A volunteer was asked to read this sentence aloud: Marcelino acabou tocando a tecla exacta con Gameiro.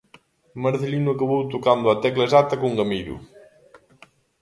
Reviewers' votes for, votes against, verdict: 0, 2, rejected